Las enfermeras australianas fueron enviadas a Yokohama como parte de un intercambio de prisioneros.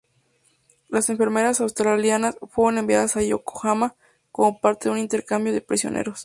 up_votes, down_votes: 2, 0